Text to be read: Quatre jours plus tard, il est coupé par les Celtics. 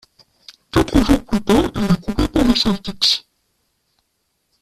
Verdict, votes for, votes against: rejected, 0, 2